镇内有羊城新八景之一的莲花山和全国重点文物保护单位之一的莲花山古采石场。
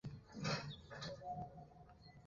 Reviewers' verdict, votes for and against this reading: rejected, 0, 3